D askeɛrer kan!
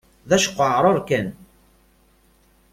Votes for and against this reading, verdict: 0, 2, rejected